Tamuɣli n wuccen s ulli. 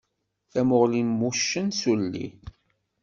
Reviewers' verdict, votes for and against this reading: accepted, 2, 0